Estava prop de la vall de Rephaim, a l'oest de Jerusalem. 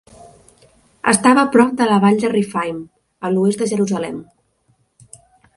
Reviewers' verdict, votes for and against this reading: accepted, 4, 0